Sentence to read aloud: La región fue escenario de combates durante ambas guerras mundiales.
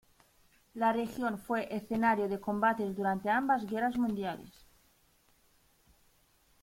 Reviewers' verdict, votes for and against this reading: rejected, 1, 2